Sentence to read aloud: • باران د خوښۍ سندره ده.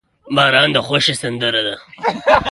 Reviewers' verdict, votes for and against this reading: rejected, 1, 2